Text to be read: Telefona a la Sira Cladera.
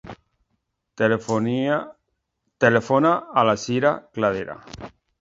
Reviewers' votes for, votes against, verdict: 0, 2, rejected